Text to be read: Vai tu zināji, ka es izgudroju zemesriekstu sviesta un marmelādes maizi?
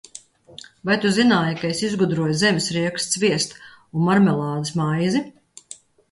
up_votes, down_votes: 4, 0